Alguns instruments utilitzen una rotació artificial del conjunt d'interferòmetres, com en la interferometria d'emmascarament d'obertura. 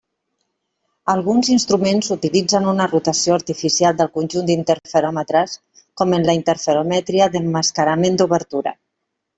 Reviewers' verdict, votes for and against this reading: rejected, 1, 2